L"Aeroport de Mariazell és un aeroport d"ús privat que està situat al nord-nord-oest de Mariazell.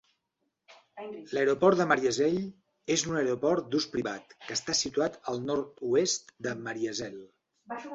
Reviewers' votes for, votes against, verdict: 0, 2, rejected